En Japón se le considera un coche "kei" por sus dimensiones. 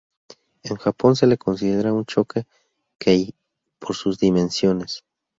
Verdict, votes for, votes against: accepted, 2, 0